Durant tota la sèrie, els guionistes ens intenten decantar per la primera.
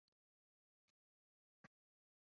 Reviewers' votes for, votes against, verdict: 0, 2, rejected